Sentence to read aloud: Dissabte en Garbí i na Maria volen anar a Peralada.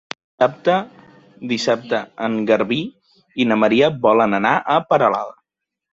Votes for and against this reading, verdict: 0, 2, rejected